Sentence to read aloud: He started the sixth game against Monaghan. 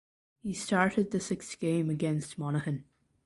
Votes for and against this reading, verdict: 2, 1, accepted